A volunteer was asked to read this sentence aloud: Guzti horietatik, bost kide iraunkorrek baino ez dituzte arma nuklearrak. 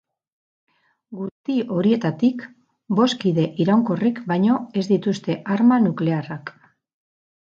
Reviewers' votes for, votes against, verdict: 4, 6, rejected